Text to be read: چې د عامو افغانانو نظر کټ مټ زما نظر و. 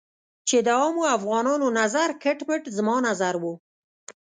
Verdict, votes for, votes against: accepted, 2, 0